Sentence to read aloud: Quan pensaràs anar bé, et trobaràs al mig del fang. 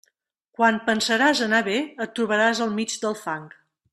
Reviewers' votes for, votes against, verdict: 3, 0, accepted